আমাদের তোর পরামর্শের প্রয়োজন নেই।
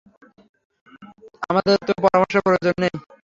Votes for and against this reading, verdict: 3, 0, accepted